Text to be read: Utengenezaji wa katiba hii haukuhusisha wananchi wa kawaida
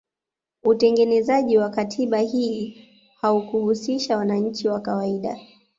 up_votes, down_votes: 3, 0